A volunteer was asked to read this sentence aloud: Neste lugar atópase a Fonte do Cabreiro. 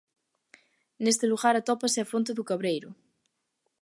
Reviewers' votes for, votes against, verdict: 3, 0, accepted